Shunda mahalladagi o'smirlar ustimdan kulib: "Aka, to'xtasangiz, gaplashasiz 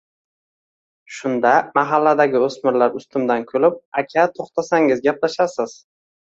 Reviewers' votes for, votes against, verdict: 2, 0, accepted